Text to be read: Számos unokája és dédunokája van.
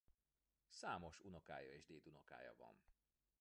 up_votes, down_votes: 0, 2